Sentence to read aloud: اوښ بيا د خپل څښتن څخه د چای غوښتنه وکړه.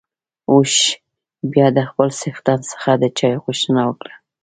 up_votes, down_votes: 3, 2